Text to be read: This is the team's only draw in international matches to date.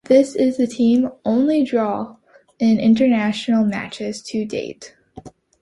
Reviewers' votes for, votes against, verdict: 1, 2, rejected